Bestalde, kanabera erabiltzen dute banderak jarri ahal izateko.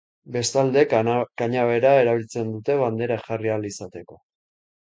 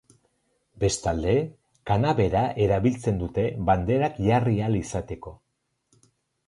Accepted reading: second